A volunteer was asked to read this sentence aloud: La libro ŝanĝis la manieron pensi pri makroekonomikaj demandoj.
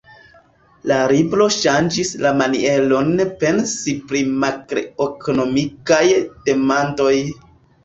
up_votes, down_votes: 0, 2